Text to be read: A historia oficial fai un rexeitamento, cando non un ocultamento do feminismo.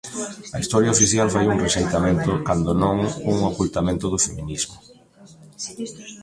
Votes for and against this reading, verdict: 0, 2, rejected